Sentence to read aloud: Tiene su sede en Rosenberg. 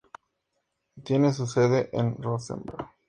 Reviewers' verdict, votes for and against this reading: accepted, 2, 0